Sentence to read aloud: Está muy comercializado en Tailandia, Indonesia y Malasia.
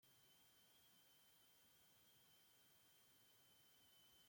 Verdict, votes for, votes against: rejected, 0, 2